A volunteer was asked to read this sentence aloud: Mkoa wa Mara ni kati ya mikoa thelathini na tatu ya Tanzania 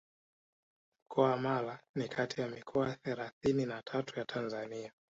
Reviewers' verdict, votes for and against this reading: accepted, 2, 0